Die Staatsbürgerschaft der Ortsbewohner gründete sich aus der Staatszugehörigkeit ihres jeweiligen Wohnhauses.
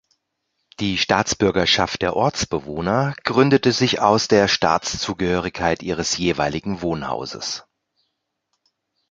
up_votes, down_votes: 2, 0